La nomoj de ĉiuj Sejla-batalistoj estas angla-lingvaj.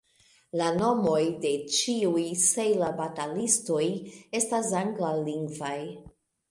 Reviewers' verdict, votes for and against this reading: rejected, 1, 2